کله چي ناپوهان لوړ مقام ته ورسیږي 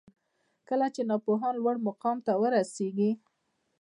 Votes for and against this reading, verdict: 2, 0, accepted